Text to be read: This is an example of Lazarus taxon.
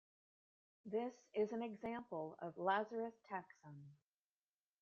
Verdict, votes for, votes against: rejected, 1, 2